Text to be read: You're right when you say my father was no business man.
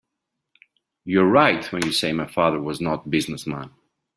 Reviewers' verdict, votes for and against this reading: rejected, 0, 2